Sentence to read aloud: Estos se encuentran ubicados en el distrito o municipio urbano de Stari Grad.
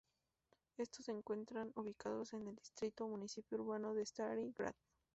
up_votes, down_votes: 2, 0